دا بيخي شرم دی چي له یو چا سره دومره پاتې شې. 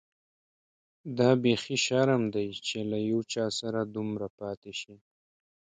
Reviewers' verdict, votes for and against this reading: accepted, 2, 0